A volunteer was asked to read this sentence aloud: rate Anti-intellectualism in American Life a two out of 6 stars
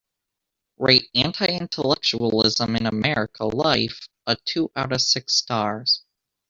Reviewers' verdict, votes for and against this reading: rejected, 0, 2